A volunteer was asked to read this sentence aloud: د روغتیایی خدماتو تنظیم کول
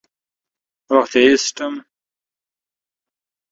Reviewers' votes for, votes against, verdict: 0, 2, rejected